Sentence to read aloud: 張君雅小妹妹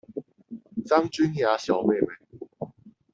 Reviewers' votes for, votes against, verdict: 4, 2, accepted